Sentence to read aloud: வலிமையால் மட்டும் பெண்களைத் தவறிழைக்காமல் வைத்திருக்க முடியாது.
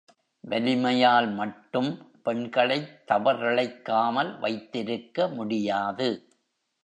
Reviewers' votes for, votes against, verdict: 2, 0, accepted